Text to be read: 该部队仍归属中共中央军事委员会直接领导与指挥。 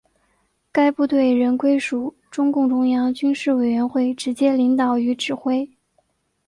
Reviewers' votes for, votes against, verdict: 3, 0, accepted